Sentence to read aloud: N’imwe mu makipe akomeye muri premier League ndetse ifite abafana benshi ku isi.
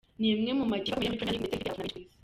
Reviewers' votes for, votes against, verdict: 0, 2, rejected